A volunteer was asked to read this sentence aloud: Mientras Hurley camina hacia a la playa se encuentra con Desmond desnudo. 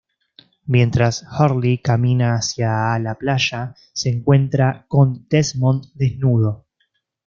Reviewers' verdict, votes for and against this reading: accepted, 2, 0